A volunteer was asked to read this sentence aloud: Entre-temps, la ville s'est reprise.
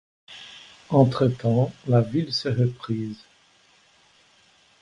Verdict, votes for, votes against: accepted, 2, 0